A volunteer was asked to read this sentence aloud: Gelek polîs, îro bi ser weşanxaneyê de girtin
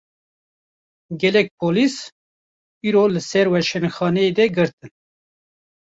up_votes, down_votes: 0, 2